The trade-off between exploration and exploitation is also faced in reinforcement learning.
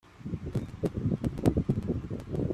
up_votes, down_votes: 0, 2